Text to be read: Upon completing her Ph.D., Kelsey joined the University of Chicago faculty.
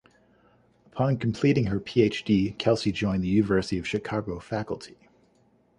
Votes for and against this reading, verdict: 2, 0, accepted